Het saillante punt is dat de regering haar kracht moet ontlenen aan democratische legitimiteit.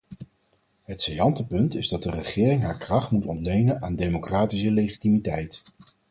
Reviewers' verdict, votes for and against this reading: accepted, 4, 0